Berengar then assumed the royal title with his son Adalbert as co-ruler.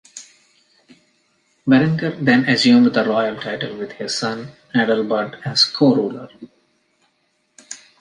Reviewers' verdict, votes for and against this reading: accepted, 2, 0